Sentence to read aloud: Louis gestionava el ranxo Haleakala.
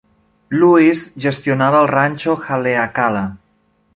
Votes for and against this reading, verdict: 3, 0, accepted